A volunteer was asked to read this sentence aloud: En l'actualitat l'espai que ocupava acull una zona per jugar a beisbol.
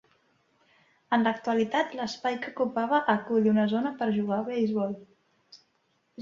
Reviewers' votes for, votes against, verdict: 3, 0, accepted